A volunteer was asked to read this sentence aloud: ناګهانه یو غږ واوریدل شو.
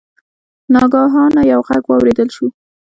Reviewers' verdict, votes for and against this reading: accepted, 2, 0